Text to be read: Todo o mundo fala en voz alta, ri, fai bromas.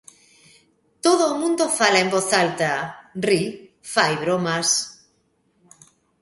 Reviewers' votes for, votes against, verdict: 2, 0, accepted